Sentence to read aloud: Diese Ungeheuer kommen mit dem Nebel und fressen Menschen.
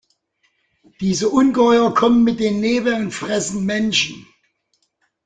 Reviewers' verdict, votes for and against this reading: rejected, 2, 3